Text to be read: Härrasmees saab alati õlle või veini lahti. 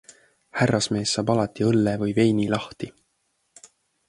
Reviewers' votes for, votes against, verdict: 2, 0, accepted